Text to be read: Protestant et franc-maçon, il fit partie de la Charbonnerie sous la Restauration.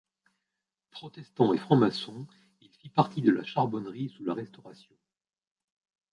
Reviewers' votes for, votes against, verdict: 1, 2, rejected